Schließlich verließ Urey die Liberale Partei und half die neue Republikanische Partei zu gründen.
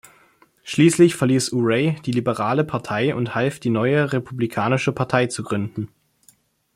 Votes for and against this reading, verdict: 2, 0, accepted